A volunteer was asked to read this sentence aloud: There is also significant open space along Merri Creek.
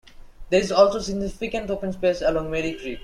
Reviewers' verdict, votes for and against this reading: accepted, 2, 0